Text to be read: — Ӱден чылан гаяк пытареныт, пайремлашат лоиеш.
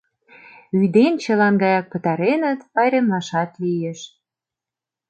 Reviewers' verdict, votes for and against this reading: rejected, 0, 2